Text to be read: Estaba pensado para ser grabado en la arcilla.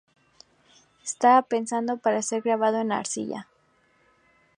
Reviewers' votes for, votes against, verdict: 2, 0, accepted